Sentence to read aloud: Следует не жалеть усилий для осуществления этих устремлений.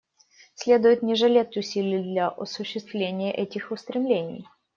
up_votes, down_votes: 0, 2